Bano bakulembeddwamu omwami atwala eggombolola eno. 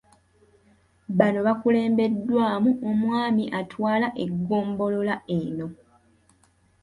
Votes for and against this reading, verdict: 2, 0, accepted